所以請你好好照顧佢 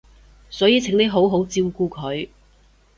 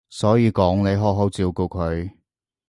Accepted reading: first